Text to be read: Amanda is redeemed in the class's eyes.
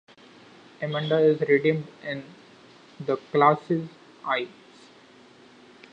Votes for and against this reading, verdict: 2, 0, accepted